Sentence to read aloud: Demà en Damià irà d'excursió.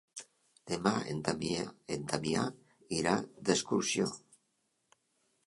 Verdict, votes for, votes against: rejected, 0, 2